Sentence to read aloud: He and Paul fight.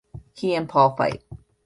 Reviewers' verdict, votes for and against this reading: accepted, 2, 0